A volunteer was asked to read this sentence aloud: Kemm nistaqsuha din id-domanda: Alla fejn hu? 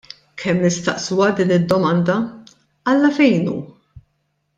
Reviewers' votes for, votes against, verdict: 2, 0, accepted